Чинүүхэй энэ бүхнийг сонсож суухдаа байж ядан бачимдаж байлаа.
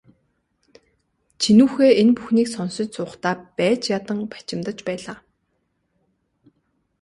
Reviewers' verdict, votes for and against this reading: accepted, 2, 1